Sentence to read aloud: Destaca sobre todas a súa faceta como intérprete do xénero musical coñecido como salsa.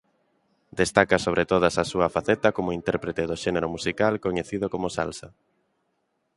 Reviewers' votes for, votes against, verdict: 2, 0, accepted